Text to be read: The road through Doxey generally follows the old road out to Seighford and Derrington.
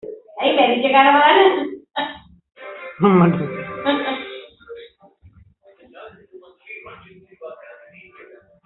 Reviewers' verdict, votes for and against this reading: rejected, 0, 2